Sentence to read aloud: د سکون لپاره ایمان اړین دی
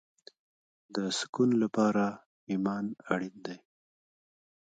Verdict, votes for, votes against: rejected, 1, 2